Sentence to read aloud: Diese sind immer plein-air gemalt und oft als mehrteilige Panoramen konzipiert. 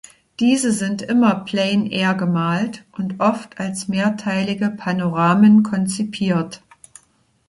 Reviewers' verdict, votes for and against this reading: accepted, 2, 0